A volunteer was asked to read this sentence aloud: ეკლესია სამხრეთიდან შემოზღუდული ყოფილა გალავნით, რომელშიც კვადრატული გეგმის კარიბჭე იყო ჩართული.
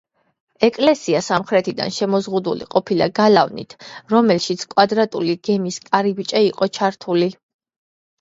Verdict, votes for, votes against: accepted, 2, 1